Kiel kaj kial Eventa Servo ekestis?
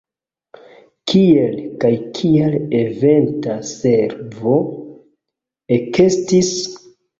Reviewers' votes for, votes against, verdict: 1, 2, rejected